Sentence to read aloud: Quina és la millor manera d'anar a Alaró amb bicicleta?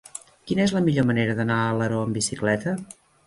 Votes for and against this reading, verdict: 3, 0, accepted